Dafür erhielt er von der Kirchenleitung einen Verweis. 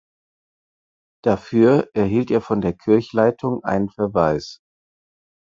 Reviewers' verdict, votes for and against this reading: rejected, 0, 4